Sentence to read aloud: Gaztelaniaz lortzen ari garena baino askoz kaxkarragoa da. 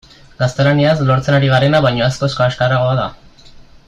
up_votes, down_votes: 2, 0